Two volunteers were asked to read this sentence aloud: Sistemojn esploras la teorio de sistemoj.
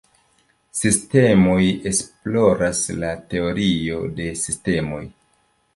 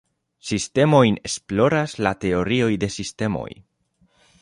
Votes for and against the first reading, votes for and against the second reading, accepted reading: 1, 2, 2, 1, second